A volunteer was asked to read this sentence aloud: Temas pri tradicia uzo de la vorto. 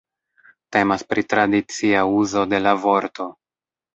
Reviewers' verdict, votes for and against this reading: rejected, 1, 2